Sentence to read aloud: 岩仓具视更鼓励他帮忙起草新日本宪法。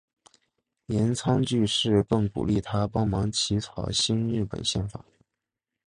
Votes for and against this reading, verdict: 6, 0, accepted